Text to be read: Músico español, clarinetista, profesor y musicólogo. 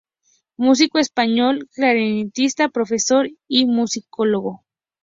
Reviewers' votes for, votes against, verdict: 0, 2, rejected